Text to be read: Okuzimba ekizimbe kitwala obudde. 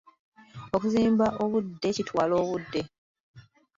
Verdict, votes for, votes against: rejected, 1, 2